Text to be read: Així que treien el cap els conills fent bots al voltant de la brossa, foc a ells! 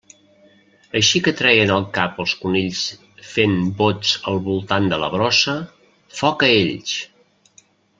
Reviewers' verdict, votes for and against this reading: rejected, 0, 2